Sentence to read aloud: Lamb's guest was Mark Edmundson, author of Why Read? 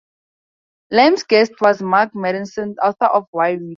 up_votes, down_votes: 0, 2